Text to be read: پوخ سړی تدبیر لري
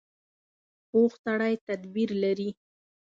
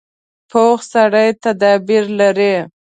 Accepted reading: first